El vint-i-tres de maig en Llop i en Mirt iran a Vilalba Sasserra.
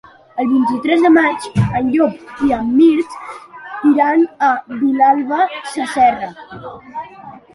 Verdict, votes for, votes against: accepted, 2, 0